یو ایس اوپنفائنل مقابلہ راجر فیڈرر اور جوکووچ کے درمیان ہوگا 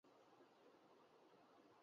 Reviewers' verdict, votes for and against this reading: rejected, 0, 3